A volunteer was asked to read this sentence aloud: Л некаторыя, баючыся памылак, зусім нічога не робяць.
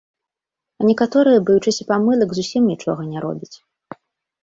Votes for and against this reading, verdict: 3, 1, accepted